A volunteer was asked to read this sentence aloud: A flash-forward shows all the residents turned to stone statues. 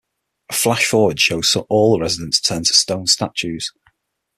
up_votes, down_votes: 6, 0